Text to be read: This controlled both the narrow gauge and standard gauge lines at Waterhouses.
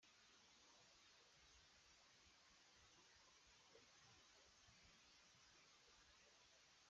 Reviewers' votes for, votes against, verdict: 0, 2, rejected